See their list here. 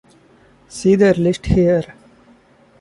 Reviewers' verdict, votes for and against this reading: accepted, 2, 0